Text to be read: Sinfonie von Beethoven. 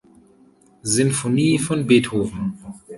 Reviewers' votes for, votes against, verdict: 2, 0, accepted